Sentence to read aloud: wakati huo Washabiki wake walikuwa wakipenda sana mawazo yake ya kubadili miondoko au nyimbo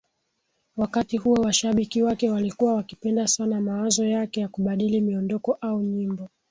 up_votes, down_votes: 6, 1